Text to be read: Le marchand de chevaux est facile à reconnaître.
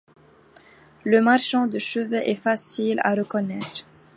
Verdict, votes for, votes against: rejected, 0, 2